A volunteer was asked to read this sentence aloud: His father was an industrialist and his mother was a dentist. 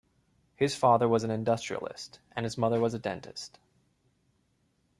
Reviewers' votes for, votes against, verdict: 2, 1, accepted